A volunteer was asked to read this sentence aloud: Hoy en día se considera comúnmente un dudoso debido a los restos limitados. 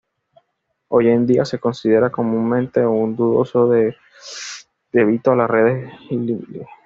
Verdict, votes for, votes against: rejected, 1, 2